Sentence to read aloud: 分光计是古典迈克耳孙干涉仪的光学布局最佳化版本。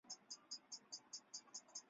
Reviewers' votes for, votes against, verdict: 0, 4, rejected